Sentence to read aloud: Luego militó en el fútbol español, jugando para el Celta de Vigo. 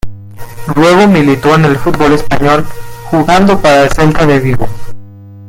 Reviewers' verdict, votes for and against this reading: rejected, 0, 2